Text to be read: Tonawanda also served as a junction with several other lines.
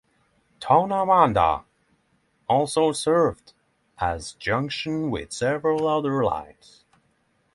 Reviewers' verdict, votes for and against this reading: accepted, 6, 0